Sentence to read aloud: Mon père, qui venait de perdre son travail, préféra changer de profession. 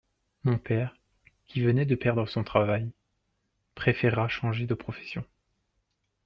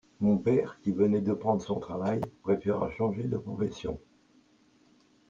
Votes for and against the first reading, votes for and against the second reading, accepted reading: 2, 0, 0, 2, first